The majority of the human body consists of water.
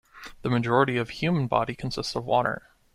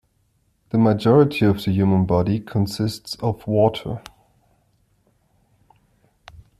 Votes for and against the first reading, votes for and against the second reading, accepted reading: 1, 2, 2, 0, second